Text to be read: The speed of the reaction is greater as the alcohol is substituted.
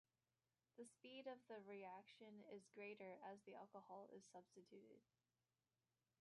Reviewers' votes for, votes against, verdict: 2, 0, accepted